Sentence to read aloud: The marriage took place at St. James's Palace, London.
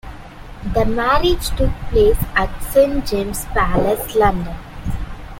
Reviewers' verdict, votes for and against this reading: rejected, 0, 2